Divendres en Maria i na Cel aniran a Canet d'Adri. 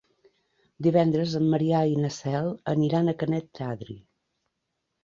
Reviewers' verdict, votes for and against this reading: accepted, 4, 0